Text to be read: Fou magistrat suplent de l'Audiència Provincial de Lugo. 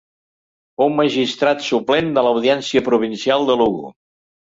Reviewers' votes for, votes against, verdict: 2, 0, accepted